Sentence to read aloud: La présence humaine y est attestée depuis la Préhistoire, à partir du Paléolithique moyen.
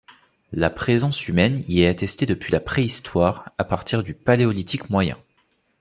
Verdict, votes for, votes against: accepted, 2, 0